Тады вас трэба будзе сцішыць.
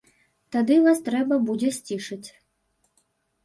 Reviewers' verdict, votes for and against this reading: accepted, 2, 0